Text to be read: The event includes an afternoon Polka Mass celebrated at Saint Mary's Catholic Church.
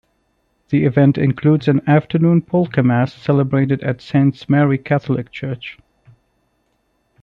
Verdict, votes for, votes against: rejected, 0, 2